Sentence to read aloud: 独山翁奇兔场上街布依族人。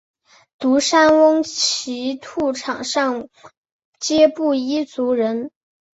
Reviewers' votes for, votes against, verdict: 3, 0, accepted